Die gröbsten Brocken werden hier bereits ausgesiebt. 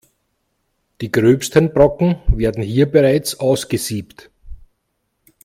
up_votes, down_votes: 2, 0